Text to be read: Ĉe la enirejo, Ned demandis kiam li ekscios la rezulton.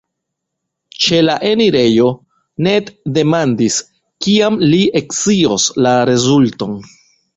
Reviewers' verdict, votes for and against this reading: rejected, 1, 2